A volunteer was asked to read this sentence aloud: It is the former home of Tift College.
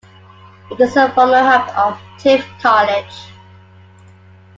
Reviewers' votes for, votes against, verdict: 2, 1, accepted